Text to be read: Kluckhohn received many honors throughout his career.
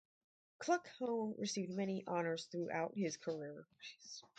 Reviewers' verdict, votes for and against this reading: rejected, 2, 4